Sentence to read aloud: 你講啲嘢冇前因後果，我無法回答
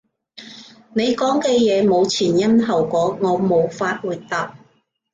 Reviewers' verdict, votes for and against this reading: rejected, 1, 2